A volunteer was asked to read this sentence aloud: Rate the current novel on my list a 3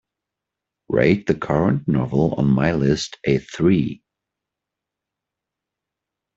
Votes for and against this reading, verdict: 0, 2, rejected